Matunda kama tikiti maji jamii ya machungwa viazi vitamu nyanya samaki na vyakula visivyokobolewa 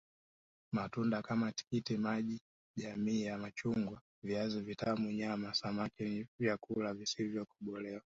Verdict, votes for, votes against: accepted, 2, 1